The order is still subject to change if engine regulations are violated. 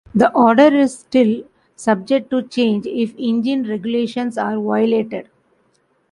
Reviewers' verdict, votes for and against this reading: rejected, 0, 2